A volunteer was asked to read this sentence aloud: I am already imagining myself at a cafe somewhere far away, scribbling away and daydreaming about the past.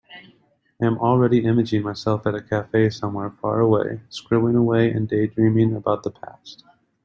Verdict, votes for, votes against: accepted, 2, 1